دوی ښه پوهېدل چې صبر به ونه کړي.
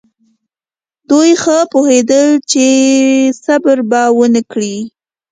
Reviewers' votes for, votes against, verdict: 2, 0, accepted